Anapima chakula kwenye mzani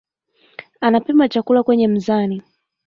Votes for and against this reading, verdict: 2, 1, accepted